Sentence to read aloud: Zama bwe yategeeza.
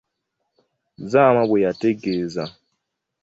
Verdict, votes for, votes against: accepted, 2, 0